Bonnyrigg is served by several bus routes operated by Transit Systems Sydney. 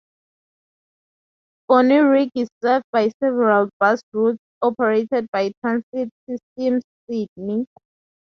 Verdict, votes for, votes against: accepted, 4, 0